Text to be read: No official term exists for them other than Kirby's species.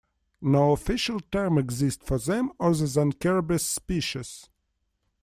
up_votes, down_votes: 1, 2